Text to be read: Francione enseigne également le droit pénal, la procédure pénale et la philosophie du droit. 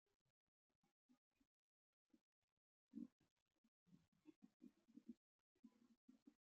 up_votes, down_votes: 0, 2